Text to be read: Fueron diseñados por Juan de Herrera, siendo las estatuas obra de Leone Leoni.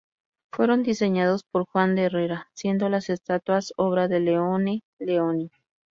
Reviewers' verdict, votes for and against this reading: accepted, 2, 0